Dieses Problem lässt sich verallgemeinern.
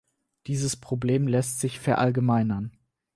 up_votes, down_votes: 4, 0